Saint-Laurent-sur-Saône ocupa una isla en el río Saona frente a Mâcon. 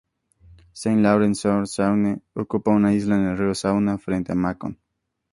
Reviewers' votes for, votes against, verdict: 2, 0, accepted